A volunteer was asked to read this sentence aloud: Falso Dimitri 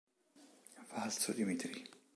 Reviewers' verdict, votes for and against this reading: accepted, 2, 0